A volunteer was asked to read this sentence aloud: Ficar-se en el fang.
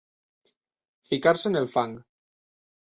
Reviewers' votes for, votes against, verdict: 3, 0, accepted